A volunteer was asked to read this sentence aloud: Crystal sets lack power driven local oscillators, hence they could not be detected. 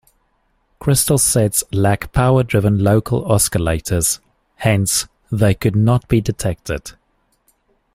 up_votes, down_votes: 0, 2